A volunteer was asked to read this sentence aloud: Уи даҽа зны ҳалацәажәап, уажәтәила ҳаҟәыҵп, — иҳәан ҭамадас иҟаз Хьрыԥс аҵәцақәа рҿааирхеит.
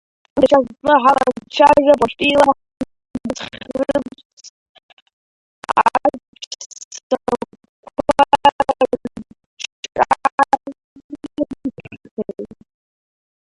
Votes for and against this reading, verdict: 0, 2, rejected